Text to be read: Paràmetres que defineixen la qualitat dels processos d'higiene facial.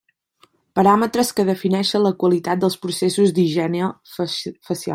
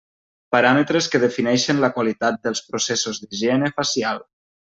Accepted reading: second